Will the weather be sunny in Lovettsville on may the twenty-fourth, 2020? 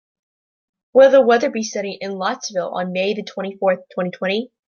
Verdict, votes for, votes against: rejected, 0, 2